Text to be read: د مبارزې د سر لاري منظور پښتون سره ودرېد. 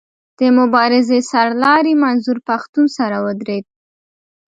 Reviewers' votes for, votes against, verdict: 2, 0, accepted